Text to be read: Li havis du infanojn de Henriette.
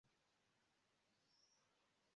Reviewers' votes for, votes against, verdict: 0, 2, rejected